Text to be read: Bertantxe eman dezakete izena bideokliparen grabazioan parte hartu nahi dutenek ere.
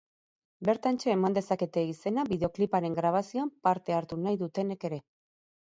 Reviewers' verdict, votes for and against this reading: rejected, 2, 4